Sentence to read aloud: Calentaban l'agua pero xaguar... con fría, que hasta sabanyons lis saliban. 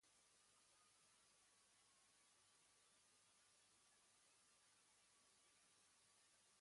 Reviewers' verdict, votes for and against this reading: rejected, 1, 2